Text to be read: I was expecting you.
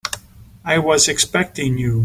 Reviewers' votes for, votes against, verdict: 3, 0, accepted